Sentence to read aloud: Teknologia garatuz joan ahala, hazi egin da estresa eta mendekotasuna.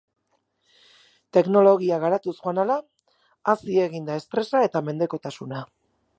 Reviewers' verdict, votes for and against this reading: accepted, 8, 0